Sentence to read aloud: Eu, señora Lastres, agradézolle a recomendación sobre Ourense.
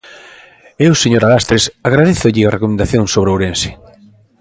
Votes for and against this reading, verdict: 2, 0, accepted